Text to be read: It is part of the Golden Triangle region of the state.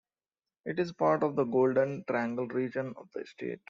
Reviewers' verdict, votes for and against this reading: accepted, 2, 1